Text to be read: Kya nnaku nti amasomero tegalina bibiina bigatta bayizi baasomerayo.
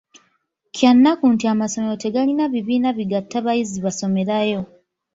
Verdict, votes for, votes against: rejected, 0, 2